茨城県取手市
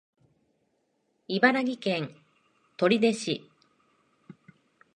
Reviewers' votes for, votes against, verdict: 1, 2, rejected